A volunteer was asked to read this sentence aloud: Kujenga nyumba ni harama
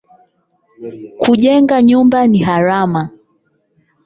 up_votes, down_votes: 4, 8